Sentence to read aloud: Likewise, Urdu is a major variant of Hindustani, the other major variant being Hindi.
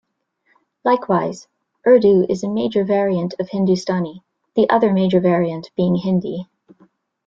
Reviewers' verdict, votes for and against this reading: accepted, 2, 0